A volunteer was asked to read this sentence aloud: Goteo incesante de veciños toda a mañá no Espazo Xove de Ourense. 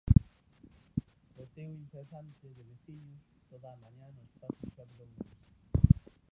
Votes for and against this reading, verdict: 0, 2, rejected